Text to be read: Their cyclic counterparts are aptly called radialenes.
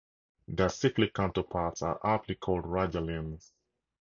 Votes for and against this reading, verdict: 2, 0, accepted